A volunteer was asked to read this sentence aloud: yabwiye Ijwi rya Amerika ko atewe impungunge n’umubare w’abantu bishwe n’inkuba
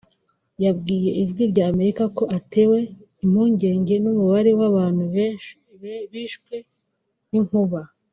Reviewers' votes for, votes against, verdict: 2, 1, accepted